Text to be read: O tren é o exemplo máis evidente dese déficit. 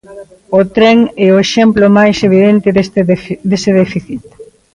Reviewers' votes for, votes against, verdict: 0, 2, rejected